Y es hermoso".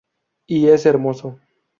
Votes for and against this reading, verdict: 2, 2, rejected